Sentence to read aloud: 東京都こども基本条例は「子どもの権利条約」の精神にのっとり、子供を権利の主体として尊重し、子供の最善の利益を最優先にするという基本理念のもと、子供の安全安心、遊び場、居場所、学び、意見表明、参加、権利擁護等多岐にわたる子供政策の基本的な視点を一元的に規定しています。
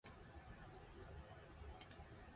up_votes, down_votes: 0, 2